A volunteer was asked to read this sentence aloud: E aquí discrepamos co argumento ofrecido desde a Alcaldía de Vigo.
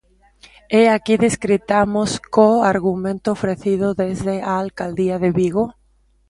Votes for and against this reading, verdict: 0, 2, rejected